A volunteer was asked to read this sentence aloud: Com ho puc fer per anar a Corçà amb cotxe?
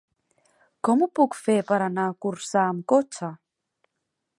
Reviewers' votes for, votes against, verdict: 4, 0, accepted